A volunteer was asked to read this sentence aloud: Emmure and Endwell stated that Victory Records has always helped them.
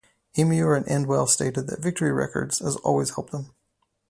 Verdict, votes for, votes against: accepted, 4, 0